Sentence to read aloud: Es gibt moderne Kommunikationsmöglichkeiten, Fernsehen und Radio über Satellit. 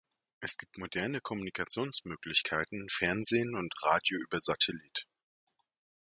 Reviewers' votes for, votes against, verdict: 2, 0, accepted